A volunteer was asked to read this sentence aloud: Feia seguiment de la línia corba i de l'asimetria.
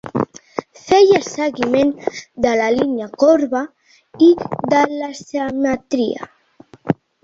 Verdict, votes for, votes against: rejected, 1, 3